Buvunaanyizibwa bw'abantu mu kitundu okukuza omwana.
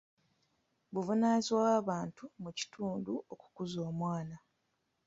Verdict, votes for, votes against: rejected, 0, 2